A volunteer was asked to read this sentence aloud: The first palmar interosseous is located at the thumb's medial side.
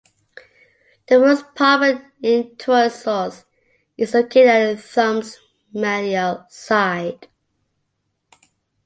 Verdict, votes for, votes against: rejected, 1, 2